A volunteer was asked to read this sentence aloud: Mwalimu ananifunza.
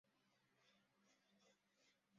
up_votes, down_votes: 0, 2